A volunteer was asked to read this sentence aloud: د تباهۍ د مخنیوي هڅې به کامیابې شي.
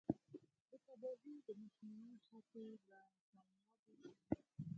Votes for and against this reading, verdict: 2, 4, rejected